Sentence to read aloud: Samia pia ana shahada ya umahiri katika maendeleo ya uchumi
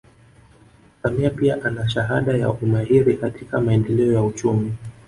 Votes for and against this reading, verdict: 2, 0, accepted